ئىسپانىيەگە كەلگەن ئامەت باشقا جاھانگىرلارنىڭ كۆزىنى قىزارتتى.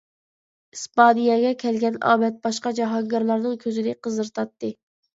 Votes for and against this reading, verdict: 0, 2, rejected